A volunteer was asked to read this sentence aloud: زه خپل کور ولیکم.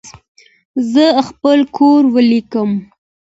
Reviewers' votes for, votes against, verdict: 2, 1, accepted